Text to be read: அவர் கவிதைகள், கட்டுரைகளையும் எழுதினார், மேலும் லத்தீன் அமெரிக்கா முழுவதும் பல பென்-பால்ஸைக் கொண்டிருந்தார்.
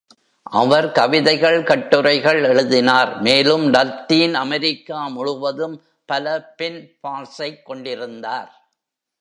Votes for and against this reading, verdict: 1, 2, rejected